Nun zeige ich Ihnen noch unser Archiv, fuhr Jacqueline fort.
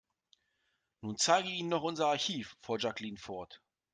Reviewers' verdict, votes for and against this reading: accepted, 2, 1